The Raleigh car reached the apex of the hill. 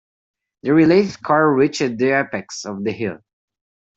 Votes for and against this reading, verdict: 1, 2, rejected